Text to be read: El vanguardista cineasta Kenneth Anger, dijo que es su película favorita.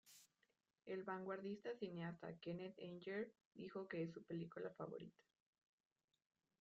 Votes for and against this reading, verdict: 0, 2, rejected